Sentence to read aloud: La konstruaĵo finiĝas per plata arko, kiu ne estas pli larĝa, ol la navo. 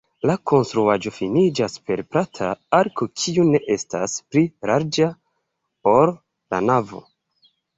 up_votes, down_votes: 1, 2